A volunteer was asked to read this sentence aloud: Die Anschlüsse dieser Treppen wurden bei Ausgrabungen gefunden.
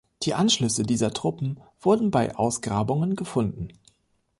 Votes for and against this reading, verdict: 0, 2, rejected